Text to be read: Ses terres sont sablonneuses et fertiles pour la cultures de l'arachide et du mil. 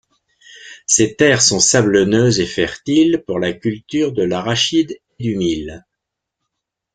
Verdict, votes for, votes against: rejected, 1, 2